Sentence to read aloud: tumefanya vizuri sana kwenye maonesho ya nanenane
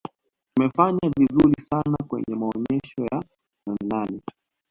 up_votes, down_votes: 2, 0